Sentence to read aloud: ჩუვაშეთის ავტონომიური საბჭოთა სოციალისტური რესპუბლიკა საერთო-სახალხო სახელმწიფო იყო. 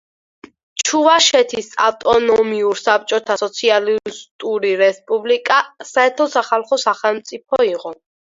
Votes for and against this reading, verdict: 4, 0, accepted